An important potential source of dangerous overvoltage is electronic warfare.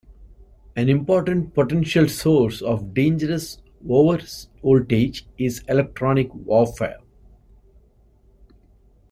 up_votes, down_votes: 2, 1